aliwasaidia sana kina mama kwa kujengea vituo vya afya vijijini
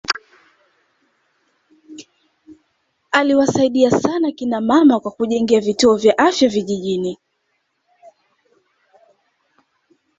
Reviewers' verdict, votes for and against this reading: rejected, 0, 2